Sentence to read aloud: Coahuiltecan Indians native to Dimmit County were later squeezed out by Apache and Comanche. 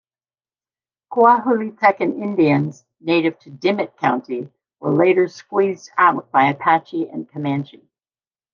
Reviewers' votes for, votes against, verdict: 2, 0, accepted